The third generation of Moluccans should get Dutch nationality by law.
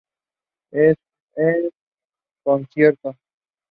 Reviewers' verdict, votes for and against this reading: rejected, 0, 2